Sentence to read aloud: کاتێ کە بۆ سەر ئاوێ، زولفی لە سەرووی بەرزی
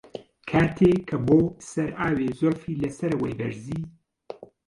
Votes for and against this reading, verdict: 1, 2, rejected